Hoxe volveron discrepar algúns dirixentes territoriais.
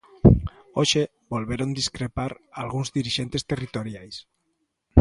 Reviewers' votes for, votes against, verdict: 2, 0, accepted